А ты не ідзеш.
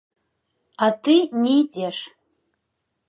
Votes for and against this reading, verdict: 2, 1, accepted